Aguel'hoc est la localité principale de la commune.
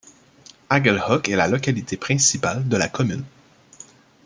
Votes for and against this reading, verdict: 2, 0, accepted